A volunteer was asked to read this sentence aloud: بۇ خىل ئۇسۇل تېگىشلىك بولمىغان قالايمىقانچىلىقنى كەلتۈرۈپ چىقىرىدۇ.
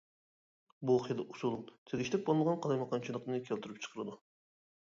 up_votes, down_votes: 1, 2